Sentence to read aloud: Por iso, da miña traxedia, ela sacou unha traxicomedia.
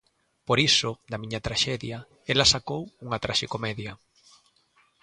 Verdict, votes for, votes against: accepted, 2, 0